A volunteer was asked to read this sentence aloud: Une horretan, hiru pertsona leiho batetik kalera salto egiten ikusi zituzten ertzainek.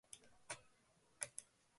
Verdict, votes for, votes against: rejected, 0, 2